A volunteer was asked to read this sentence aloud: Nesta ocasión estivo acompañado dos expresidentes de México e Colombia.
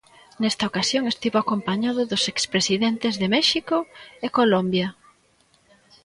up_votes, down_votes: 2, 0